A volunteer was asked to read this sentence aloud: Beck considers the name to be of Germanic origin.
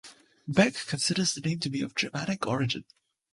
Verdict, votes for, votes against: accepted, 2, 0